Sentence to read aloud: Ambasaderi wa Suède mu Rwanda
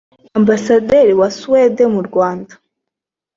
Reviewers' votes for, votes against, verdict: 2, 1, accepted